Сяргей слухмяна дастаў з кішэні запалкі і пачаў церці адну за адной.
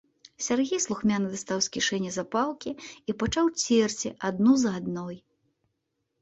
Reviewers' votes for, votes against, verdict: 2, 0, accepted